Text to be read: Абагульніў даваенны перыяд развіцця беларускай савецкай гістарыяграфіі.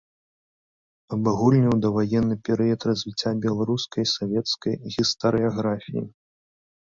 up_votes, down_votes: 2, 0